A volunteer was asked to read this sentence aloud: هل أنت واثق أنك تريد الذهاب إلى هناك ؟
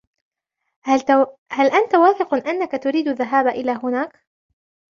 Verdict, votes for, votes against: rejected, 0, 2